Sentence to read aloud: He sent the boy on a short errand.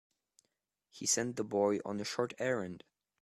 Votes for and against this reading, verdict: 2, 0, accepted